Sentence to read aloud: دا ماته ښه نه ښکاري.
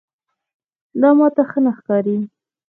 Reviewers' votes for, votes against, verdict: 0, 2, rejected